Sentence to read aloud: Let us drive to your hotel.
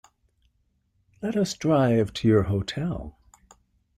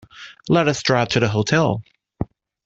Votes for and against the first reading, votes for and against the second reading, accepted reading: 2, 0, 0, 2, first